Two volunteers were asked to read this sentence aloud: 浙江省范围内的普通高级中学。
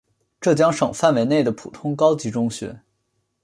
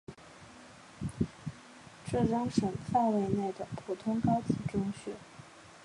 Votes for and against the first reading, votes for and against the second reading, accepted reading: 2, 0, 1, 2, first